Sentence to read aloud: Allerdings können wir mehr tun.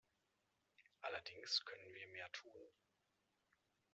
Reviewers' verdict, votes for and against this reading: accepted, 2, 0